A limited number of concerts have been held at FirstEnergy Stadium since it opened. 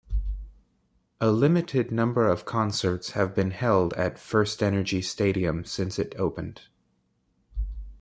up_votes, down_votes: 0, 2